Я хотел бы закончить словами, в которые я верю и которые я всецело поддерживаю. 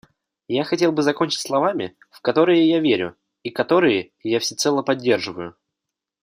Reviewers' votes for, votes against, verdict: 2, 0, accepted